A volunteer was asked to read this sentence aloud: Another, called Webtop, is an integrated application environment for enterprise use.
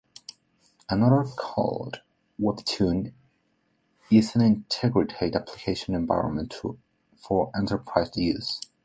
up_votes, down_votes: 0, 2